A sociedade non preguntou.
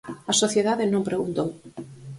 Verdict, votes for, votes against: accepted, 4, 0